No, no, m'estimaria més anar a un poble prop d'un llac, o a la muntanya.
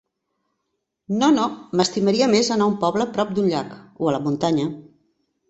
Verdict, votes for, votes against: accepted, 3, 0